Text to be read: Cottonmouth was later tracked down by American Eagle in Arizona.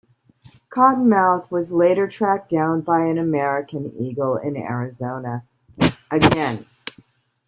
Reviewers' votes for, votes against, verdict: 0, 2, rejected